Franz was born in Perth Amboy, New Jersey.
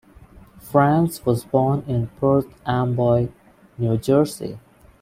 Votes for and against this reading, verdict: 2, 0, accepted